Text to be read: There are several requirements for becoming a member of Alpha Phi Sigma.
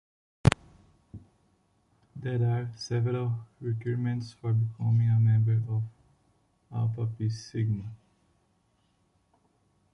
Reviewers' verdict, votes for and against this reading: rejected, 0, 2